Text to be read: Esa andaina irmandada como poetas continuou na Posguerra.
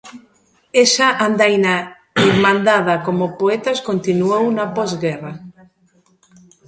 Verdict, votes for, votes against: accepted, 2, 0